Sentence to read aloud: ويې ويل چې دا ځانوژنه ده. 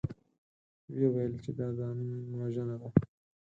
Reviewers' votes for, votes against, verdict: 2, 4, rejected